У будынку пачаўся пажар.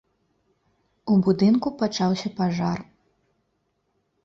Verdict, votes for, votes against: accepted, 2, 0